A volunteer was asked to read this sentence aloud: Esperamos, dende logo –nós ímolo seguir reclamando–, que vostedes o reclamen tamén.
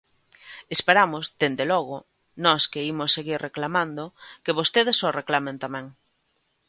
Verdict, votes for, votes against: rejected, 0, 2